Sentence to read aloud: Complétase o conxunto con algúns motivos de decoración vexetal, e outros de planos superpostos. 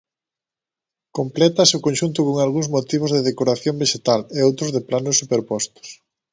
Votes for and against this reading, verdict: 3, 0, accepted